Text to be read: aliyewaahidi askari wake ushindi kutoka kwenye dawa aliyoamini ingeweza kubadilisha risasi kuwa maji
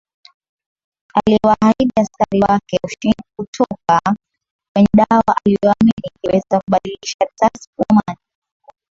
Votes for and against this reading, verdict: 0, 2, rejected